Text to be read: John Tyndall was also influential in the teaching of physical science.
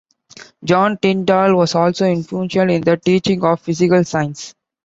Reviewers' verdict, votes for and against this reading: accepted, 2, 0